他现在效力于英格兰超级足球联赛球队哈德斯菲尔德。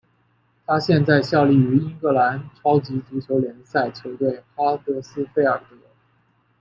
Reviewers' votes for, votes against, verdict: 2, 1, accepted